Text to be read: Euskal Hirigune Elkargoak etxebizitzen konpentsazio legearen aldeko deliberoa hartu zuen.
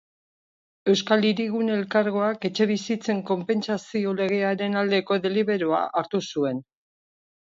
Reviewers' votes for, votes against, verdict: 2, 0, accepted